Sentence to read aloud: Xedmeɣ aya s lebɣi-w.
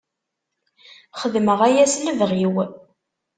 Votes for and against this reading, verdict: 2, 0, accepted